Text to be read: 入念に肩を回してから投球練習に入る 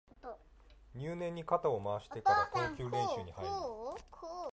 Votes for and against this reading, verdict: 0, 2, rejected